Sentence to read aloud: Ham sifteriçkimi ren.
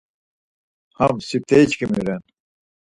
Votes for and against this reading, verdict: 4, 0, accepted